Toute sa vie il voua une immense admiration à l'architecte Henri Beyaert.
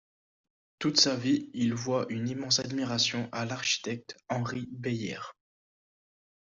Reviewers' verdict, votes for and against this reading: accepted, 2, 0